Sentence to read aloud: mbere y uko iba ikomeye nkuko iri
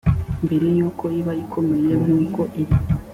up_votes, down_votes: 2, 0